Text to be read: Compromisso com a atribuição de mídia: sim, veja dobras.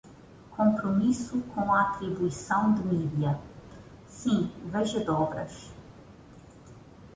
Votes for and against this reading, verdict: 2, 0, accepted